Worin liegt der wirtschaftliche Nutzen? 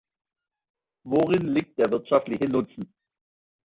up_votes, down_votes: 2, 0